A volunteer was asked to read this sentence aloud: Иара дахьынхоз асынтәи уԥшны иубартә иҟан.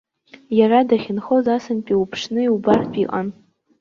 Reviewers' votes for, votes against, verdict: 1, 2, rejected